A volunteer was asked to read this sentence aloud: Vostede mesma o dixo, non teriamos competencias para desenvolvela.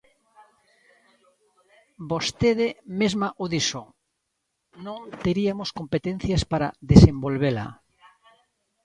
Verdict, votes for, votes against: rejected, 0, 2